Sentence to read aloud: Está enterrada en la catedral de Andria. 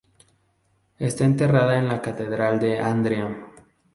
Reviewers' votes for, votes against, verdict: 2, 2, rejected